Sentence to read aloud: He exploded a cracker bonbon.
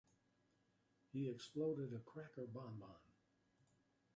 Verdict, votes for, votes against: accepted, 2, 1